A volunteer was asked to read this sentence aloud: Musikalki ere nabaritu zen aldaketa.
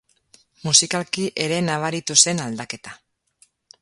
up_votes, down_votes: 2, 0